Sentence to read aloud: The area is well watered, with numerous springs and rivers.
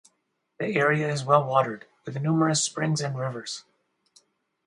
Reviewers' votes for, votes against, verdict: 4, 0, accepted